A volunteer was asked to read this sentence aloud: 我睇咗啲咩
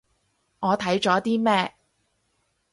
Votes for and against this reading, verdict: 4, 0, accepted